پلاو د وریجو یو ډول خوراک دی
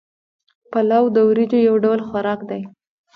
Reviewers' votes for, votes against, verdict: 1, 2, rejected